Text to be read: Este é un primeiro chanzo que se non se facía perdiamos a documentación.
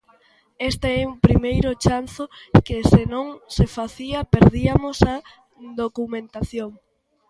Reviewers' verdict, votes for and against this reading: rejected, 0, 2